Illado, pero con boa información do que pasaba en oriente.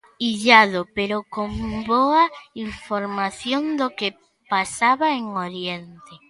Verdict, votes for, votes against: rejected, 1, 2